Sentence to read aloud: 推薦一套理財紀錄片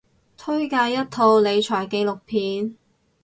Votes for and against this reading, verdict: 2, 2, rejected